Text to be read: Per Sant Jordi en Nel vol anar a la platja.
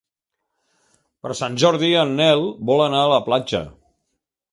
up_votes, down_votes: 2, 1